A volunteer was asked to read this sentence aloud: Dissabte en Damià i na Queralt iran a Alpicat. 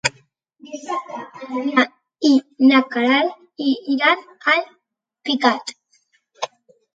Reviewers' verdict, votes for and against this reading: rejected, 2, 3